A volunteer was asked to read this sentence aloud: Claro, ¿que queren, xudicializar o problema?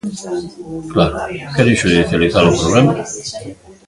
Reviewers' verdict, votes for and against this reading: rejected, 0, 2